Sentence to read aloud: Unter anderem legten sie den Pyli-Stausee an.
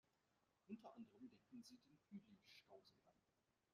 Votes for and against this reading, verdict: 0, 2, rejected